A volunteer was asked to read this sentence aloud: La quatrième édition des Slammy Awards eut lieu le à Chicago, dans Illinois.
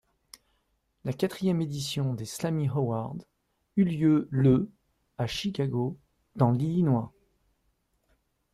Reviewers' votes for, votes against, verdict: 0, 2, rejected